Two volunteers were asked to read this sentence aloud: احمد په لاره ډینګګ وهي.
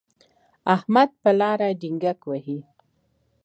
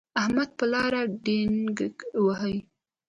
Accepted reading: first